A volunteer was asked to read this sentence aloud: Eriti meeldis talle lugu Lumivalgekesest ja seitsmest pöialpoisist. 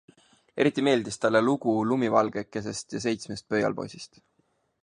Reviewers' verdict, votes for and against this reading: accepted, 5, 0